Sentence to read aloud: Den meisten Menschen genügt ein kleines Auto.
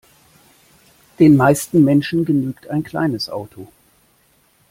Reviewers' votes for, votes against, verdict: 2, 0, accepted